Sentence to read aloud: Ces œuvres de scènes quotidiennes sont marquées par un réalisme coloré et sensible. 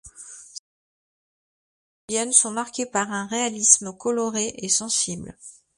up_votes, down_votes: 0, 2